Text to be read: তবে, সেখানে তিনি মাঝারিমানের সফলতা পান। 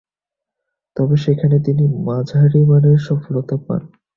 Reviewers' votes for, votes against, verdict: 4, 1, accepted